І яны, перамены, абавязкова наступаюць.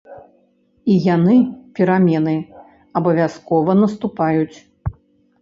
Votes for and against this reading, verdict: 2, 0, accepted